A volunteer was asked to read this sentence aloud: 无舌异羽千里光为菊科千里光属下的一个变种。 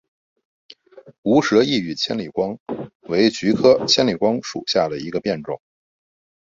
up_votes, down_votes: 2, 0